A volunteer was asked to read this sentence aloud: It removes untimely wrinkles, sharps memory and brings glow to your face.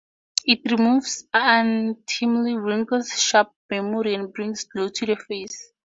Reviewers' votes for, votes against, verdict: 0, 4, rejected